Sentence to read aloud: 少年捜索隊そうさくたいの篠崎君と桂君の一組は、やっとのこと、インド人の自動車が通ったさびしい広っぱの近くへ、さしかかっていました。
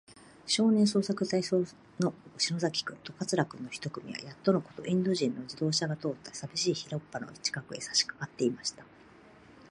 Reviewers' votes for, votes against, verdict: 0, 2, rejected